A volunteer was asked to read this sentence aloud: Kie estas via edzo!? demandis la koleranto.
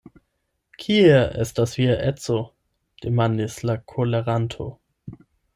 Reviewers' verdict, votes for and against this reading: accepted, 8, 0